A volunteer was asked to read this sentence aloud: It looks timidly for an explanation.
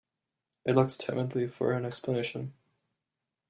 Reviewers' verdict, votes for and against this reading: accepted, 2, 1